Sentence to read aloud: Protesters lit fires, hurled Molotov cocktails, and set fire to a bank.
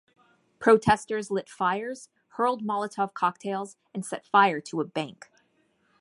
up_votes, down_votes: 2, 0